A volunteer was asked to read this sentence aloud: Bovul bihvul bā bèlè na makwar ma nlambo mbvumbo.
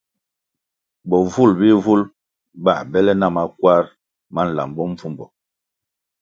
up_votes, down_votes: 2, 0